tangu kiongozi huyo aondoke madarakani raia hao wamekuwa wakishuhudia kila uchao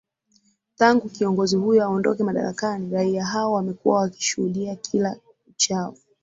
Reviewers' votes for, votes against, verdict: 2, 1, accepted